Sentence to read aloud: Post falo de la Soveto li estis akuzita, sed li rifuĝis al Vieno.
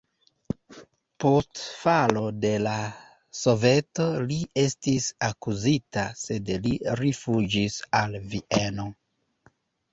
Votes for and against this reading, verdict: 1, 2, rejected